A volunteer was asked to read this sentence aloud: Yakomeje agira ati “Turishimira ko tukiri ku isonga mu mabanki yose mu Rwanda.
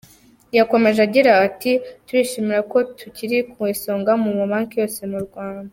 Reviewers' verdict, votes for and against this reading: accepted, 2, 0